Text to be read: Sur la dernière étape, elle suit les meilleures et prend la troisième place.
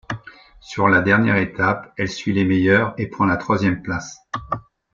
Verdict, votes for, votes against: accepted, 2, 0